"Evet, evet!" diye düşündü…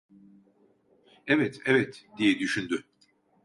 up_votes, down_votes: 2, 0